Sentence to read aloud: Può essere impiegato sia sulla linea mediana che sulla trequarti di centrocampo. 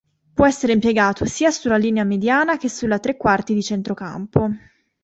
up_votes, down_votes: 2, 0